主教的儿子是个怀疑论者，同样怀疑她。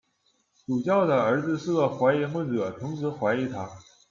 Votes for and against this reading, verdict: 0, 2, rejected